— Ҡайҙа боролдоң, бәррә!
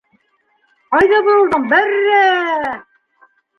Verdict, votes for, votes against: rejected, 1, 2